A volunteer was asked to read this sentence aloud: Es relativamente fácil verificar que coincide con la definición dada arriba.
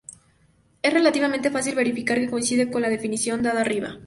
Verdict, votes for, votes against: accepted, 4, 0